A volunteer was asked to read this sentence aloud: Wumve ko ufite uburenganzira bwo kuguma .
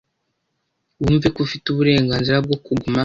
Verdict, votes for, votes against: accepted, 2, 0